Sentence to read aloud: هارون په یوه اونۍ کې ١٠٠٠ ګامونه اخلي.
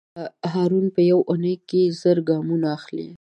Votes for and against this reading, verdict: 0, 2, rejected